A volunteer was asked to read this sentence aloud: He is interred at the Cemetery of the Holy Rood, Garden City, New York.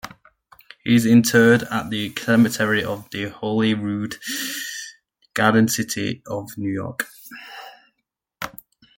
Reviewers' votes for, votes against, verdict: 1, 2, rejected